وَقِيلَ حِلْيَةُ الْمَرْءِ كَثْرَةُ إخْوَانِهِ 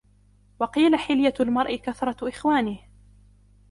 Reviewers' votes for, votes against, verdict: 2, 0, accepted